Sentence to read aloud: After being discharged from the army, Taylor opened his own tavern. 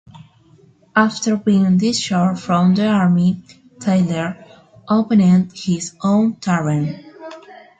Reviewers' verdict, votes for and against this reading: rejected, 0, 2